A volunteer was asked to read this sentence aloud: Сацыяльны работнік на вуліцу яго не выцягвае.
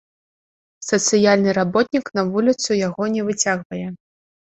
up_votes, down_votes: 2, 0